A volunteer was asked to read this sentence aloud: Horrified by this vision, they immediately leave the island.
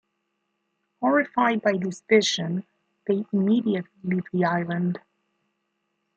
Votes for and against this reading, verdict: 1, 2, rejected